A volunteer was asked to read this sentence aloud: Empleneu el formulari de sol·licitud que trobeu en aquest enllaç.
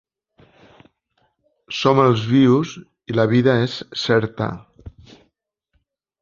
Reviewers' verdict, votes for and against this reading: rejected, 1, 2